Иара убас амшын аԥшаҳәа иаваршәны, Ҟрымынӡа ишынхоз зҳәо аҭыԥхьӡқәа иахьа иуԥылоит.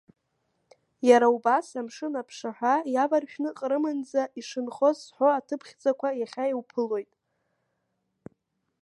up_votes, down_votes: 1, 2